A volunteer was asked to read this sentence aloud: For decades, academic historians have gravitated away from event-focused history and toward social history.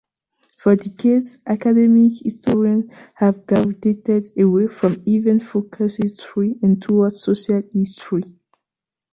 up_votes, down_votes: 2, 3